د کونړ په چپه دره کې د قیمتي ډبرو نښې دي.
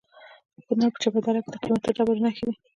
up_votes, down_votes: 1, 2